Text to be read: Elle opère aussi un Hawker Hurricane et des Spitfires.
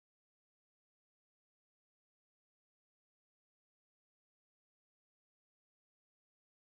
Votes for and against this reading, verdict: 0, 2, rejected